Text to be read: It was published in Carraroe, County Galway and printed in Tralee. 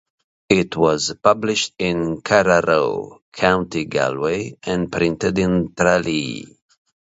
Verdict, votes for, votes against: accepted, 2, 0